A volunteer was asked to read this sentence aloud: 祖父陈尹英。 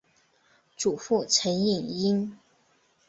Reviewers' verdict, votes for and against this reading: accepted, 2, 0